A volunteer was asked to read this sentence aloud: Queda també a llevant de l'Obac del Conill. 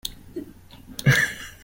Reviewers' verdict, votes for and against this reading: rejected, 0, 2